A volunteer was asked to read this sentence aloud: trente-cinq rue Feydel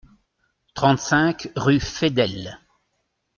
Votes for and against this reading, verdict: 2, 0, accepted